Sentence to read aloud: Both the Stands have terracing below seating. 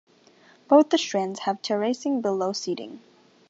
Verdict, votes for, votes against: rejected, 0, 2